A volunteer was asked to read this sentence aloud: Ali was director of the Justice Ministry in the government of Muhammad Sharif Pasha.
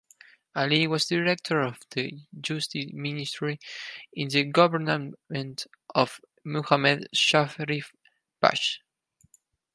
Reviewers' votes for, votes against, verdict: 4, 2, accepted